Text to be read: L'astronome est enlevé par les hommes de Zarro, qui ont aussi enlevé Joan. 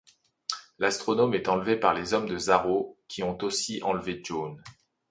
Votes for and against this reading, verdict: 2, 0, accepted